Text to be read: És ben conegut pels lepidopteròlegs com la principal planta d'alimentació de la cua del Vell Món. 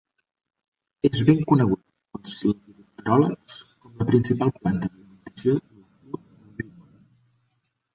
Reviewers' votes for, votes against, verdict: 0, 2, rejected